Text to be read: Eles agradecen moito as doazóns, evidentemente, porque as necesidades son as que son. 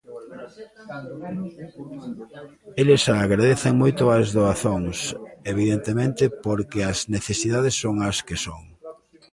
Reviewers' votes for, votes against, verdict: 1, 2, rejected